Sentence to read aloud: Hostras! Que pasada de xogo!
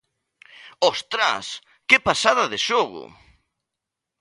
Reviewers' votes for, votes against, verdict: 2, 1, accepted